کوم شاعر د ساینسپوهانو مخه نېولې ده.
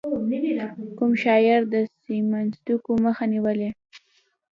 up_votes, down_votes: 2, 1